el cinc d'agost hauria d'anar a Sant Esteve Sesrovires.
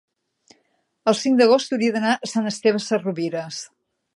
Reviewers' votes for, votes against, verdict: 3, 0, accepted